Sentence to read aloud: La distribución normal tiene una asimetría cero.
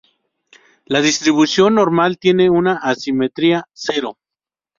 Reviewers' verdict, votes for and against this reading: rejected, 2, 2